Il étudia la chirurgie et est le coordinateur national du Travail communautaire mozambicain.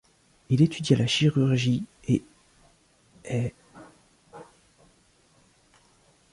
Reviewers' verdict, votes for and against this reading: rejected, 0, 2